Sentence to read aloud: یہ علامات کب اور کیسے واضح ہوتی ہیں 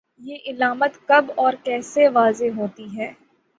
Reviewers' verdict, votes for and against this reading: rejected, 3, 3